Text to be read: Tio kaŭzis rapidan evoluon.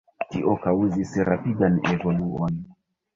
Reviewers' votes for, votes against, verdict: 1, 2, rejected